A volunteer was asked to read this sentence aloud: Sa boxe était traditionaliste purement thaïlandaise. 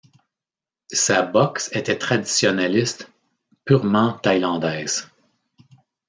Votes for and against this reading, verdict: 2, 0, accepted